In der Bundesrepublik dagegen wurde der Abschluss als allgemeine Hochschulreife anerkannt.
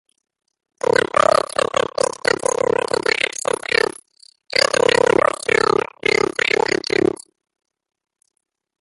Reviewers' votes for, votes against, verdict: 0, 2, rejected